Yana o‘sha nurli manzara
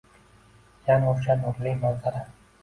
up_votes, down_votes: 1, 2